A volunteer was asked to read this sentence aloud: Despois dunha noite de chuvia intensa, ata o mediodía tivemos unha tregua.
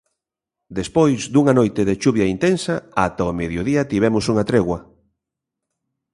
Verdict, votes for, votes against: accepted, 2, 0